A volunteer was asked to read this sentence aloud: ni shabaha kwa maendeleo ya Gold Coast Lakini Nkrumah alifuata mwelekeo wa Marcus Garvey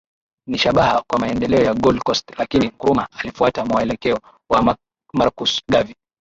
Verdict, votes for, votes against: rejected, 1, 2